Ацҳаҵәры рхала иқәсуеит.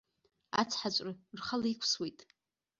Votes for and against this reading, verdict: 1, 2, rejected